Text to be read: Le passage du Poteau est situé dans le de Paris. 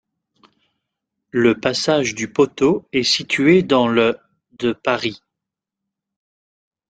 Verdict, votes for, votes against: rejected, 1, 2